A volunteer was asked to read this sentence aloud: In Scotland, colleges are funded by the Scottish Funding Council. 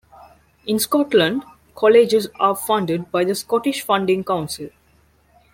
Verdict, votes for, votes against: accepted, 2, 0